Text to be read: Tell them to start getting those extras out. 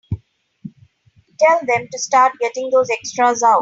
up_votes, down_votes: 2, 1